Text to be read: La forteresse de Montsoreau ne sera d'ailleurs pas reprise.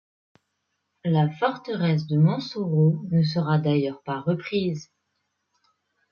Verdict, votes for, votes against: accepted, 2, 0